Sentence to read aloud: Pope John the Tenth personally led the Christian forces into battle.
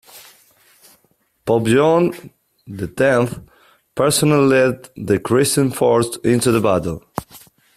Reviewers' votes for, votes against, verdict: 1, 2, rejected